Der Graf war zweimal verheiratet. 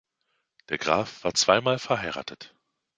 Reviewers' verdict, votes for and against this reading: accepted, 2, 0